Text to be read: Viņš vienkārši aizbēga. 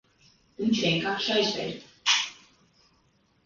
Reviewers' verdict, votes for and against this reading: rejected, 1, 2